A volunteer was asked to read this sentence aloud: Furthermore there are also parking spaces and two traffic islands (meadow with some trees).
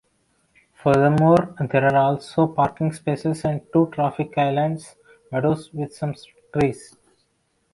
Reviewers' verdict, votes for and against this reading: rejected, 0, 2